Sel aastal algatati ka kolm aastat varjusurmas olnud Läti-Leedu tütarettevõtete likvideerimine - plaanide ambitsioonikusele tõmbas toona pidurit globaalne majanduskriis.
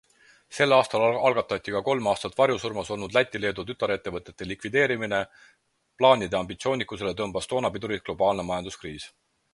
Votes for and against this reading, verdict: 4, 2, accepted